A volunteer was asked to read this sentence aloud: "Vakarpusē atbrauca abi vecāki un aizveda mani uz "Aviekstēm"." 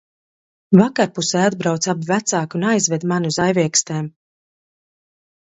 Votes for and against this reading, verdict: 1, 2, rejected